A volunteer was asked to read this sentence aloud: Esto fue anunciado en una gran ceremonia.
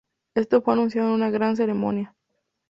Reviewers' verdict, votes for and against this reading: accepted, 2, 0